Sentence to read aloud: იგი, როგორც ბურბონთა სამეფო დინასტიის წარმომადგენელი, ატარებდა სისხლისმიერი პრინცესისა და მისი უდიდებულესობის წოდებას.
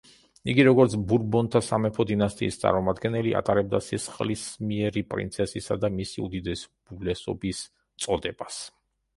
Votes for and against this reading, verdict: 0, 2, rejected